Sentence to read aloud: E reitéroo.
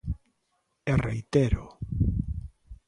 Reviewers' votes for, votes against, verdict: 2, 0, accepted